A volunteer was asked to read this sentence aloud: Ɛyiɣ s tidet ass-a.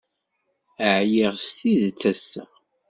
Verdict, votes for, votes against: accepted, 2, 0